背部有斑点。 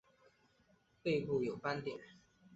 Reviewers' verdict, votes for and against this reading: accepted, 3, 0